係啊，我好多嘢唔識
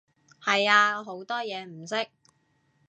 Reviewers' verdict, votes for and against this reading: rejected, 1, 2